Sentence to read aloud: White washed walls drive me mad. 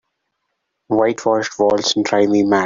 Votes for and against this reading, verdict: 3, 0, accepted